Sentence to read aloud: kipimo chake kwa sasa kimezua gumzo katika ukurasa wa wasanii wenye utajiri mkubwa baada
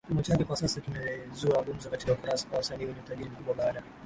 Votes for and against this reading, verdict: 1, 2, rejected